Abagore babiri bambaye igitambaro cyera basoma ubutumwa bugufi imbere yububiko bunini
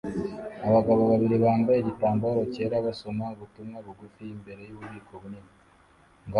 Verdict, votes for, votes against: rejected, 1, 2